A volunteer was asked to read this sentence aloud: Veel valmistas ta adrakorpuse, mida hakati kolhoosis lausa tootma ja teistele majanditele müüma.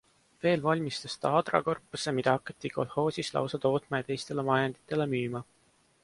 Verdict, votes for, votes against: accepted, 2, 0